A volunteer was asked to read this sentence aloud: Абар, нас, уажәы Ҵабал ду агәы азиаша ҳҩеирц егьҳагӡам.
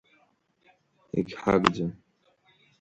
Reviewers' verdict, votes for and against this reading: rejected, 1, 2